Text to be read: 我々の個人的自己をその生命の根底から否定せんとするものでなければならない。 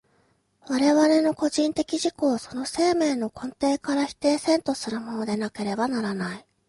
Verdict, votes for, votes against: accepted, 2, 0